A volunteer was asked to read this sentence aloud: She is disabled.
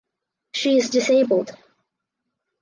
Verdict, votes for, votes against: accepted, 4, 0